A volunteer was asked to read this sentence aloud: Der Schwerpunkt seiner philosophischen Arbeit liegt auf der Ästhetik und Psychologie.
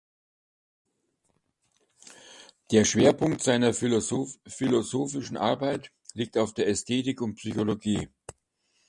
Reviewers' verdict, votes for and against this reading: rejected, 0, 2